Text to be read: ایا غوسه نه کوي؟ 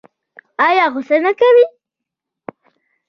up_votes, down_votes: 1, 2